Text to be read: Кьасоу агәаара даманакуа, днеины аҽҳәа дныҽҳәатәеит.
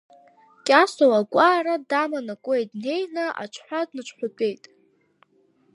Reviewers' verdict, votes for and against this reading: rejected, 0, 2